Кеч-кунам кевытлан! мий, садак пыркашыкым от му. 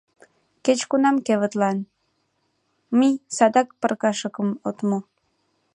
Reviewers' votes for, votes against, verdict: 0, 2, rejected